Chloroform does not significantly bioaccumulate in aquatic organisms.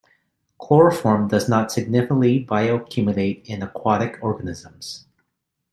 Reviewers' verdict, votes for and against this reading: rejected, 1, 2